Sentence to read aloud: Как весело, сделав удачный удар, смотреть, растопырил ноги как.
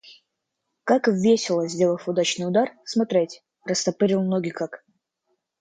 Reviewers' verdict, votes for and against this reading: accepted, 2, 1